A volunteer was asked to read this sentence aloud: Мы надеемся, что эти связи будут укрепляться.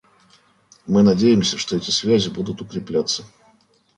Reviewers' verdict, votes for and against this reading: accepted, 2, 0